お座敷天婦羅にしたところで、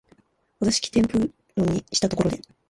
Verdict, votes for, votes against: rejected, 0, 2